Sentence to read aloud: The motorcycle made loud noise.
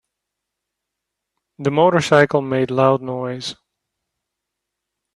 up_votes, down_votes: 2, 0